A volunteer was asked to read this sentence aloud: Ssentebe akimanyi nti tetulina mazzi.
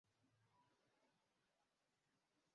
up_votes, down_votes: 0, 2